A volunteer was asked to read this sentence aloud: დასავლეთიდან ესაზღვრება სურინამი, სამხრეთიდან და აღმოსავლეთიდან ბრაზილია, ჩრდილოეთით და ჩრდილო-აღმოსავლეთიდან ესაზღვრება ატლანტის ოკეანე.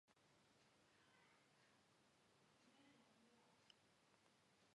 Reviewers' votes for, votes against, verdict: 0, 2, rejected